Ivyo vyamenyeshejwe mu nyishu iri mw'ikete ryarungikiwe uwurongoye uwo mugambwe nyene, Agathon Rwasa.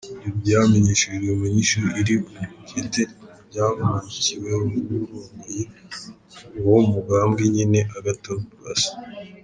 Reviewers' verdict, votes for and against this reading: rejected, 1, 2